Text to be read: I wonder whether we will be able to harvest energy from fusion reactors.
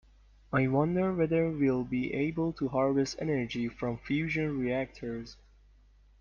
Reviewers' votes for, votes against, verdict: 2, 0, accepted